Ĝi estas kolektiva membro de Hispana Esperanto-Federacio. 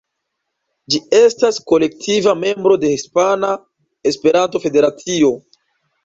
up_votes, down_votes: 2, 0